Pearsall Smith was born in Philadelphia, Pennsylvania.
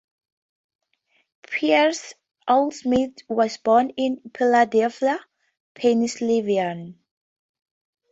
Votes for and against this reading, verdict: 0, 2, rejected